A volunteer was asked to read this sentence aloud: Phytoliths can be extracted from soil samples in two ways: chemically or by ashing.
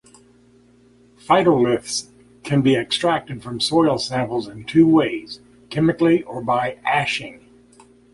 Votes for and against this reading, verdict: 2, 0, accepted